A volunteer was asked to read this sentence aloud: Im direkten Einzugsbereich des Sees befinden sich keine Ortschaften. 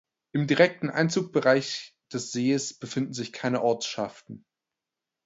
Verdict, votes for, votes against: rejected, 0, 2